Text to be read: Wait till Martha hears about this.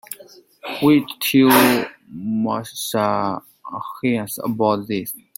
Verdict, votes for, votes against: rejected, 1, 2